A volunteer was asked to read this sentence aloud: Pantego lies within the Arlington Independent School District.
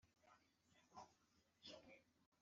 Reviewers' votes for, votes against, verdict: 0, 2, rejected